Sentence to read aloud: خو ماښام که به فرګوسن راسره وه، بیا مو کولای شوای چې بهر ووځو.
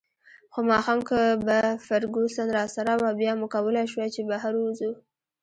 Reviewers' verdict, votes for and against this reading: accepted, 2, 0